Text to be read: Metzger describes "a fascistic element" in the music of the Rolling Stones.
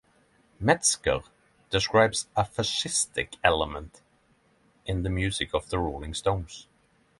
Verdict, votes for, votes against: accepted, 6, 0